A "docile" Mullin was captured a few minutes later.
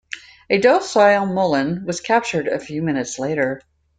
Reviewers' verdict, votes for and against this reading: accepted, 2, 0